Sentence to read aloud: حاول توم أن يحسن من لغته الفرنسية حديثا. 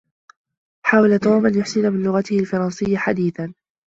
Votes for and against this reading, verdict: 2, 1, accepted